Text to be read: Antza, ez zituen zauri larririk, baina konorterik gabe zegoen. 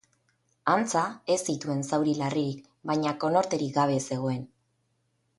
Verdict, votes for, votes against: accepted, 2, 0